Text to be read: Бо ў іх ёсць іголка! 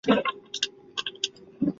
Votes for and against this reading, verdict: 0, 2, rejected